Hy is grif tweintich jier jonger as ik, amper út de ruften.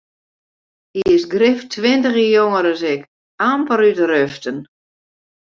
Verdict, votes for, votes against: rejected, 0, 2